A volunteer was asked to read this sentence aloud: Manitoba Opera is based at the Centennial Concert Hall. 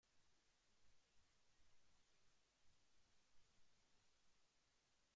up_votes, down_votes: 1, 2